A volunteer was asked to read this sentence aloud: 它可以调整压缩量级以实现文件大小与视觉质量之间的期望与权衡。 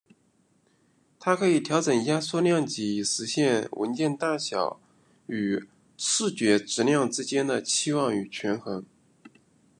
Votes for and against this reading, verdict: 2, 0, accepted